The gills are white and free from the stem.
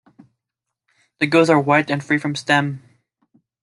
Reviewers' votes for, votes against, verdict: 2, 0, accepted